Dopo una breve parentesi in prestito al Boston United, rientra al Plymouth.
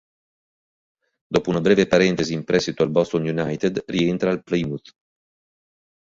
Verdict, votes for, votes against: rejected, 1, 3